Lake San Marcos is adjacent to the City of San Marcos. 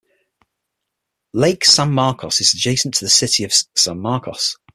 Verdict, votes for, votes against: accepted, 6, 0